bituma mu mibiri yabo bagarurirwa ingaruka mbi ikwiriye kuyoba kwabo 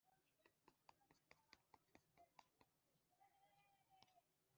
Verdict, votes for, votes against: rejected, 0, 2